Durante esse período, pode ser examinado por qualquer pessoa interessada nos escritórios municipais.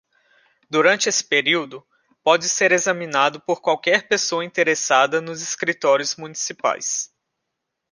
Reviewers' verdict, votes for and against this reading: accepted, 2, 0